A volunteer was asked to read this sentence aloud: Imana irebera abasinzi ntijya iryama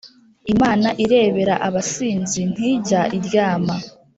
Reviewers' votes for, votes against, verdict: 2, 0, accepted